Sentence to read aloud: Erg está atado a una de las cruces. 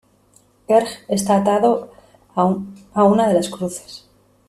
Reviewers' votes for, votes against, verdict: 0, 2, rejected